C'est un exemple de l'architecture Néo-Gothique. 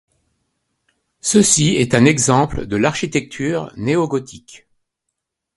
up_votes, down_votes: 1, 2